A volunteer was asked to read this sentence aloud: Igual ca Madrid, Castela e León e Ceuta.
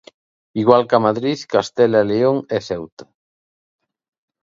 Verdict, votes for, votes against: accepted, 2, 0